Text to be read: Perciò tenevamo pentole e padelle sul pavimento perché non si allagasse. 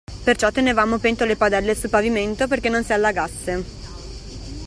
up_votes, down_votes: 2, 0